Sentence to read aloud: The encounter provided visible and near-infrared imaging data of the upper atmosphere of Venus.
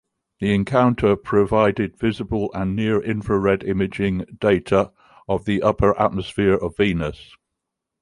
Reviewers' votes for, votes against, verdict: 2, 0, accepted